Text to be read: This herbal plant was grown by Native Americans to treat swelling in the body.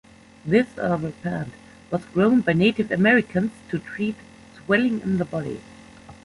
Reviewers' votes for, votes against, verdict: 2, 0, accepted